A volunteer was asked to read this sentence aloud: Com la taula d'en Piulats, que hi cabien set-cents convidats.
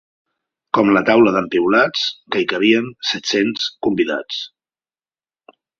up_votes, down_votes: 2, 0